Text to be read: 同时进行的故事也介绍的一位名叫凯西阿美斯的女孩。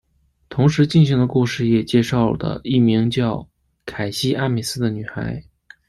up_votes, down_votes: 1, 2